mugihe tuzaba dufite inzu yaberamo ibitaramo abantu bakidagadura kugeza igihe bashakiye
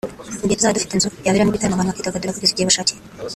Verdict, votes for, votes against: rejected, 1, 2